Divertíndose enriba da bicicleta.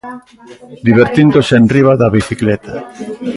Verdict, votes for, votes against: rejected, 1, 2